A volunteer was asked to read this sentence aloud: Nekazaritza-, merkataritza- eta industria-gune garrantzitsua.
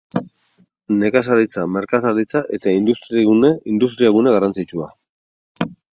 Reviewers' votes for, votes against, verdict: 2, 8, rejected